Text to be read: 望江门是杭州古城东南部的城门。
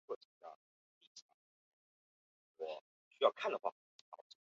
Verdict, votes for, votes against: rejected, 0, 2